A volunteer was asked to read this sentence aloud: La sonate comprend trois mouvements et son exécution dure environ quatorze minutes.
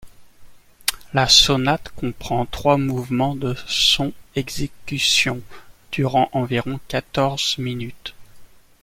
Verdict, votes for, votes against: rejected, 0, 2